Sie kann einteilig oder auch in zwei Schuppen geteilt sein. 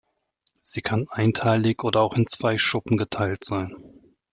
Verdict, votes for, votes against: accepted, 2, 0